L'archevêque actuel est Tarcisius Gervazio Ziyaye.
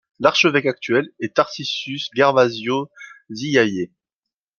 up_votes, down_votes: 2, 0